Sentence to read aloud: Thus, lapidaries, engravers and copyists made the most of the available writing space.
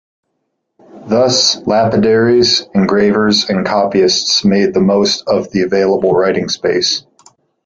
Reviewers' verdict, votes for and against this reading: accepted, 2, 0